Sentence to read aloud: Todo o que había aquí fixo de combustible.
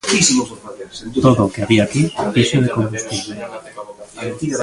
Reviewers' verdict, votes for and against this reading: rejected, 0, 2